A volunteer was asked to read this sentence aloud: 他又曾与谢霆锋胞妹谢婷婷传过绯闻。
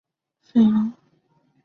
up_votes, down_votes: 0, 3